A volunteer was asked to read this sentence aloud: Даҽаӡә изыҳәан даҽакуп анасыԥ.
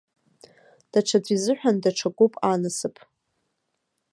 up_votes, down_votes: 2, 0